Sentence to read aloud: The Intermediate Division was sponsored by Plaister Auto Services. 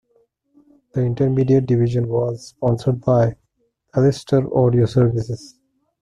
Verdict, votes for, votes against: rejected, 0, 2